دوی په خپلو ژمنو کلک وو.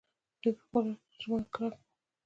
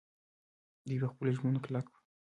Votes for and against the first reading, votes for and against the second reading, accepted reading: 1, 2, 3, 1, second